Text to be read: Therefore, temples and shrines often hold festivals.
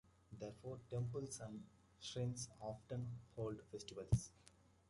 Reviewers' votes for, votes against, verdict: 0, 2, rejected